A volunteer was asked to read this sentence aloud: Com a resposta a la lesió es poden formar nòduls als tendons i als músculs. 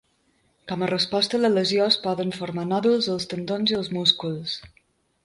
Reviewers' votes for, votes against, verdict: 2, 0, accepted